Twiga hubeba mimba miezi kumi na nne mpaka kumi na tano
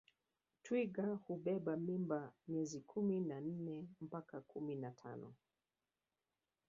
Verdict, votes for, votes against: rejected, 1, 3